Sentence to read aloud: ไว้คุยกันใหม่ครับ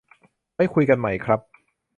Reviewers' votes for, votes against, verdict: 2, 0, accepted